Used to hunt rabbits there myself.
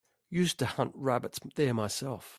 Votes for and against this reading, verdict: 2, 1, accepted